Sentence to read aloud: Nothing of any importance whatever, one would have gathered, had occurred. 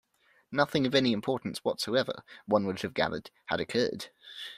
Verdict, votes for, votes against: rejected, 0, 2